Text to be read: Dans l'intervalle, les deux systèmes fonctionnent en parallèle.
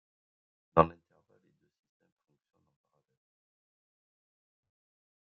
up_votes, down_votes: 0, 2